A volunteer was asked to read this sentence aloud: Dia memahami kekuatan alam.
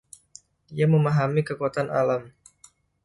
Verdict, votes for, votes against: accepted, 2, 0